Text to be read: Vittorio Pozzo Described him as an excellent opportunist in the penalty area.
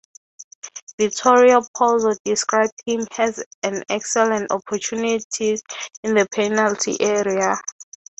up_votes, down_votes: 6, 3